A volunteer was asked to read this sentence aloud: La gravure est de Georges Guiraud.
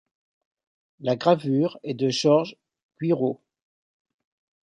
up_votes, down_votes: 0, 2